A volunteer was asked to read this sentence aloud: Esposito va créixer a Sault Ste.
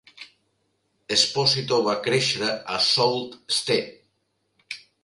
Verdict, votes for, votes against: accepted, 2, 0